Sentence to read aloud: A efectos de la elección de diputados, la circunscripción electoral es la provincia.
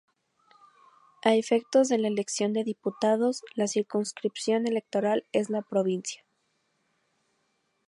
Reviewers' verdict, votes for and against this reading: accepted, 2, 0